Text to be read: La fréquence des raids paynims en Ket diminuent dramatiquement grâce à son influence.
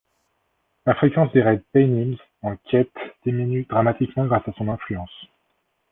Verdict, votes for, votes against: accepted, 2, 0